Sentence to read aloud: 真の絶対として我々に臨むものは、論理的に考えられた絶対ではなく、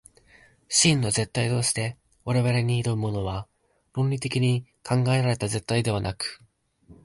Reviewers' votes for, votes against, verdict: 0, 2, rejected